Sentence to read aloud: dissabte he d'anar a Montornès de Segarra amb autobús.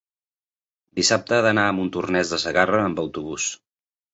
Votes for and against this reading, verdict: 2, 1, accepted